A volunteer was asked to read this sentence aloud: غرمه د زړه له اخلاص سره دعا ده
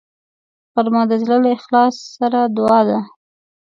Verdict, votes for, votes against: accepted, 2, 0